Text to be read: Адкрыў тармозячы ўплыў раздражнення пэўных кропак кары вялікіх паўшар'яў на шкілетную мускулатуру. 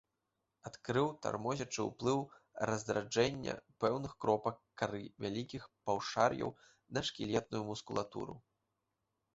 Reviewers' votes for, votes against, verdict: 1, 2, rejected